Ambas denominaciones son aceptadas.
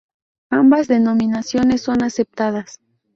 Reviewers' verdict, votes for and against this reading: accepted, 2, 0